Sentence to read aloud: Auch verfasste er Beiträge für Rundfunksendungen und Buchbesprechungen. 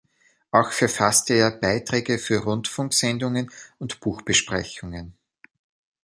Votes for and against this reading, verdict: 2, 0, accepted